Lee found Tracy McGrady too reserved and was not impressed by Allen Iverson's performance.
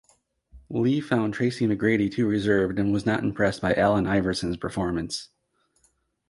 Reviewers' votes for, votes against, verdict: 2, 0, accepted